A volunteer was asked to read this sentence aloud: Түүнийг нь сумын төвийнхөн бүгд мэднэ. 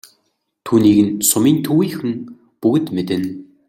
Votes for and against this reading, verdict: 2, 0, accepted